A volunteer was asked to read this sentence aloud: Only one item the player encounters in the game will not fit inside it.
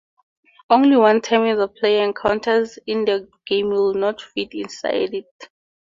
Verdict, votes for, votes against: rejected, 0, 2